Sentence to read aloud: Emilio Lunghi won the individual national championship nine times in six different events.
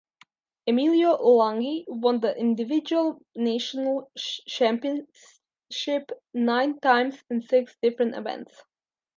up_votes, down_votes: 2, 0